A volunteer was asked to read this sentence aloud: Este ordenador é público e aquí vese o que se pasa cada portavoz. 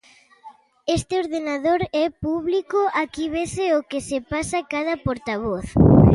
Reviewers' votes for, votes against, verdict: 1, 2, rejected